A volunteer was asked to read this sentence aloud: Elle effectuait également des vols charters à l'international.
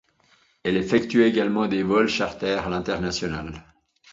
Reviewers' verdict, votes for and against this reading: accepted, 2, 0